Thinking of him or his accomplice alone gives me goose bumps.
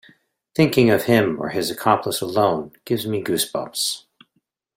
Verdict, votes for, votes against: accepted, 2, 0